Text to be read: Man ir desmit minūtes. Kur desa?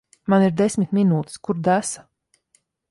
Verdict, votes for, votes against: accepted, 2, 0